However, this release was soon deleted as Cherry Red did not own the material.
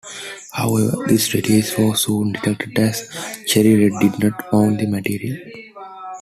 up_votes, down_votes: 0, 2